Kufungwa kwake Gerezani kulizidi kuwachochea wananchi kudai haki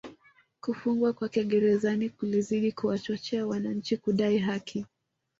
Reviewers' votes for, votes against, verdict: 2, 0, accepted